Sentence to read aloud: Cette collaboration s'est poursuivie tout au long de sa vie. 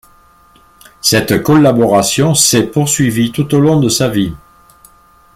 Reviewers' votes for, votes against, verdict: 2, 0, accepted